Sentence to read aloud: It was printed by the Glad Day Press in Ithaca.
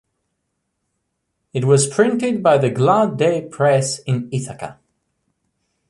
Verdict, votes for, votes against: accepted, 2, 0